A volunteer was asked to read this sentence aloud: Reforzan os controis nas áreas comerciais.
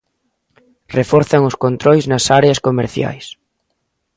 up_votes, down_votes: 2, 0